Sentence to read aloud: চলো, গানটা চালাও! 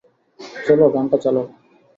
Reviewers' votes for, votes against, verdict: 2, 0, accepted